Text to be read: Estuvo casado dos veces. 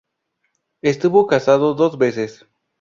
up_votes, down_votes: 2, 0